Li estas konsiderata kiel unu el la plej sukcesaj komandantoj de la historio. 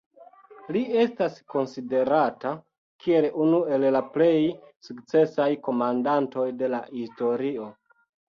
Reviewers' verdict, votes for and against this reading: accepted, 2, 0